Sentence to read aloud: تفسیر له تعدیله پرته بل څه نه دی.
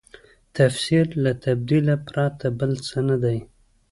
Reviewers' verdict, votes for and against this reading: rejected, 1, 2